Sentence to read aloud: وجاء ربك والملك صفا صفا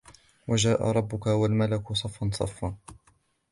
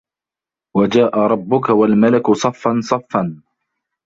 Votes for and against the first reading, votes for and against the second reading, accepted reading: 2, 0, 1, 2, first